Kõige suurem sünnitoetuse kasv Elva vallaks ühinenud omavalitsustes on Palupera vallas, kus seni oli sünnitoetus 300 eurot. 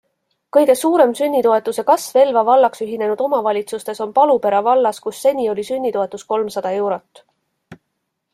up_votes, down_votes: 0, 2